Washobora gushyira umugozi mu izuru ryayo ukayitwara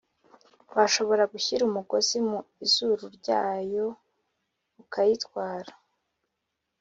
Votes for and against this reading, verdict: 2, 0, accepted